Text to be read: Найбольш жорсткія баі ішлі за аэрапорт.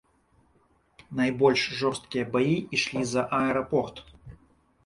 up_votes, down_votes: 2, 0